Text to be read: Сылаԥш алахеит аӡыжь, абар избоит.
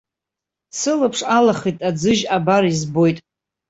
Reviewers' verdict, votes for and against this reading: accepted, 2, 1